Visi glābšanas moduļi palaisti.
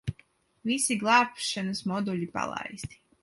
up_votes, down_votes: 2, 0